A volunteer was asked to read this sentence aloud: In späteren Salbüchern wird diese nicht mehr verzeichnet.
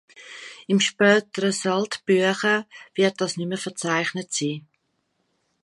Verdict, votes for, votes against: rejected, 0, 2